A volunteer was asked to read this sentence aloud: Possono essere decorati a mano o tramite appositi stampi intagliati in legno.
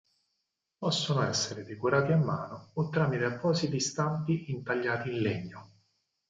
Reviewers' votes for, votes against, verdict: 0, 4, rejected